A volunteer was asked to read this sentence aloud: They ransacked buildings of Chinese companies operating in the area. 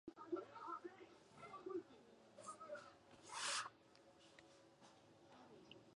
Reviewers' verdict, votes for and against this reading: rejected, 0, 2